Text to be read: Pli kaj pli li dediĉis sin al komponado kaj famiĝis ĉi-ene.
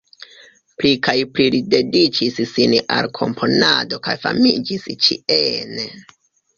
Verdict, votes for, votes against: rejected, 0, 2